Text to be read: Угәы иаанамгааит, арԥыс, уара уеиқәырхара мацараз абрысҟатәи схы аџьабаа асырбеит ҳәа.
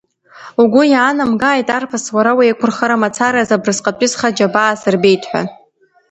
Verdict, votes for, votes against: accepted, 2, 1